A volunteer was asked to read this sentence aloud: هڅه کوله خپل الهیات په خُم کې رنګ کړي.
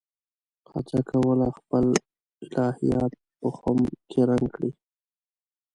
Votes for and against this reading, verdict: 1, 2, rejected